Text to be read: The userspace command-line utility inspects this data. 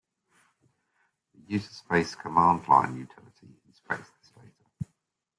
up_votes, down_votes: 1, 2